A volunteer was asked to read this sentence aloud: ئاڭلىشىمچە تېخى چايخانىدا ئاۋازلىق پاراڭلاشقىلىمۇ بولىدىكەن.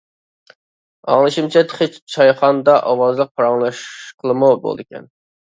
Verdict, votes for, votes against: rejected, 0, 2